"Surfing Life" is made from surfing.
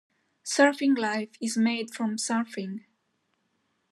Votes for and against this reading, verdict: 2, 0, accepted